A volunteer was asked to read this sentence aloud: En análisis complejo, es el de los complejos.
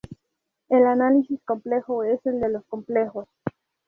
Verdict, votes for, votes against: rejected, 0, 2